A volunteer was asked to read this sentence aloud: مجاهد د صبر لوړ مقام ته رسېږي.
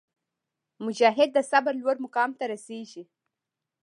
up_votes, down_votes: 1, 2